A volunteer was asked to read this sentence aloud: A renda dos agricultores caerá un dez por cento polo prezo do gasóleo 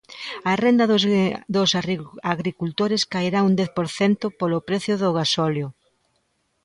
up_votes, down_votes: 0, 2